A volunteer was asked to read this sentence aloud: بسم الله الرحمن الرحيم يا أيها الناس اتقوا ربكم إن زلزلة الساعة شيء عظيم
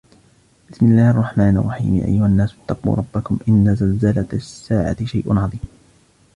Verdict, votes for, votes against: accepted, 2, 1